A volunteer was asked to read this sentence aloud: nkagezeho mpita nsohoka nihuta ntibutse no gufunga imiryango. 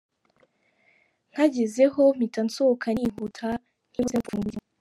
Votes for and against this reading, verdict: 1, 3, rejected